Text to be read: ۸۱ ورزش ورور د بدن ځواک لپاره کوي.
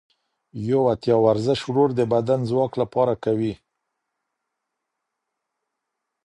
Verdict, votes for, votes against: rejected, 0, 2